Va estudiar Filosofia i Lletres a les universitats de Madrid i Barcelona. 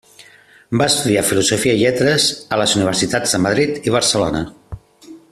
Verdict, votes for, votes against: accepted, 3, 0